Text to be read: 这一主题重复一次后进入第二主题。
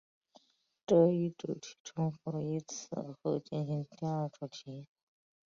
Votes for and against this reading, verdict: 0, 2, rejected